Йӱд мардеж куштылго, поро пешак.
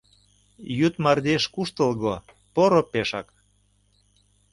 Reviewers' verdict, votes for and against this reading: accepted, 2, 0